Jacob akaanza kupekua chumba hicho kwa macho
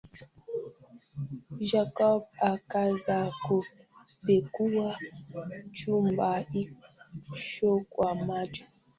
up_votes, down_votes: 0, 2